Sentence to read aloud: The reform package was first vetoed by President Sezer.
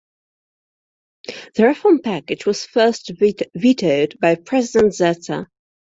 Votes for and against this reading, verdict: 0, 2, rejected